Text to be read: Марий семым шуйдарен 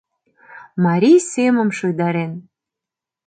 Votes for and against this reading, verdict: 2, 0, accepted